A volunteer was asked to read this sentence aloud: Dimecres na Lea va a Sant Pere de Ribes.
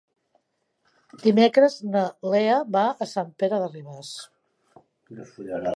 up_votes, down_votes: 1, 2